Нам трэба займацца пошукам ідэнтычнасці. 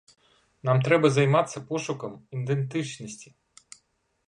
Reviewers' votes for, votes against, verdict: 1, 2, rejected